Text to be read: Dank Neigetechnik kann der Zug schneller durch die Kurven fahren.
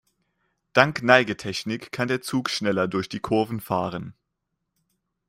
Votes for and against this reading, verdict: 2, 0, accepted